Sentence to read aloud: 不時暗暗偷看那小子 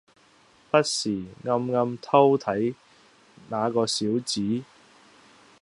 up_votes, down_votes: 0, 2